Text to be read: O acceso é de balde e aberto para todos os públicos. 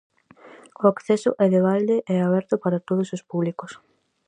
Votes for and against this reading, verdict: 4, 0, accepted